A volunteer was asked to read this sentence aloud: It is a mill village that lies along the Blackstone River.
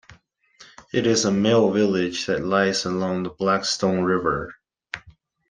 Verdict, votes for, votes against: accepted, 2, 0